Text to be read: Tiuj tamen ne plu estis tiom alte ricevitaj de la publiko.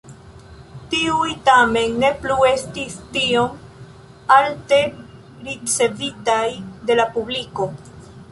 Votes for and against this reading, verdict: 0, 2, rejected